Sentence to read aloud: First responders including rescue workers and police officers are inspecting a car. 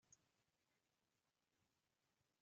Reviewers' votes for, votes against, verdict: 0, 4, rejected